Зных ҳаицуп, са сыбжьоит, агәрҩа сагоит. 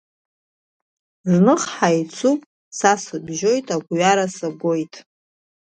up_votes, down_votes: 1, 2